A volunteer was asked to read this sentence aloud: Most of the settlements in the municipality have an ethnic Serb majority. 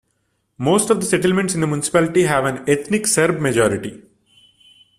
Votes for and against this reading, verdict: 2, 1, accepted